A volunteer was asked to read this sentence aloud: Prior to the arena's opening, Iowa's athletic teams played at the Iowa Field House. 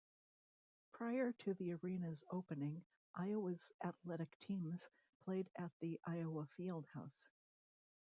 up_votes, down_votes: 2, 1